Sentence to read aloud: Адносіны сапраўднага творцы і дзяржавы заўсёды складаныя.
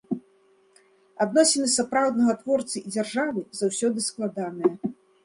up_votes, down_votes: 2, 0